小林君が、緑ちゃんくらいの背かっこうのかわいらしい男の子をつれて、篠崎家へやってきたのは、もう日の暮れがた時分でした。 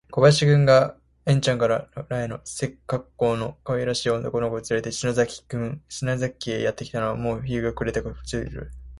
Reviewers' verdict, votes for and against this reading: rejected, 0, 2